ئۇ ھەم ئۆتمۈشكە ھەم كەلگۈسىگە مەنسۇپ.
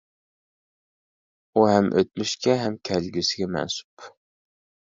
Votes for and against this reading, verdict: 2, 0, accepted